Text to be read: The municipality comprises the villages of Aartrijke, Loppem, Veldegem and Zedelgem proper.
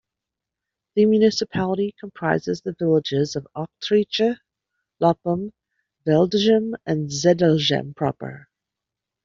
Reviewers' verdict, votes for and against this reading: accepted, 2, 0